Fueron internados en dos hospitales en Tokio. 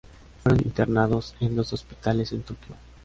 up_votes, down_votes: 2, 0